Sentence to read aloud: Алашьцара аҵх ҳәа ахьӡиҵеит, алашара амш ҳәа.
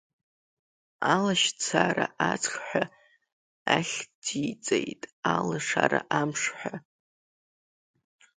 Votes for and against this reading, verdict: 2, 0, accepted